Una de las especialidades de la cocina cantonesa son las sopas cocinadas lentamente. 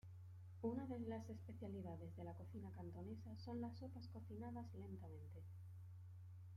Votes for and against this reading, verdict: 1, 2, rejected